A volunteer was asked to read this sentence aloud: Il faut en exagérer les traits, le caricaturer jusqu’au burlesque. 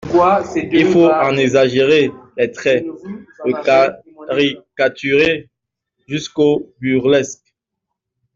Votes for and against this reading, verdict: 0, 2, rejected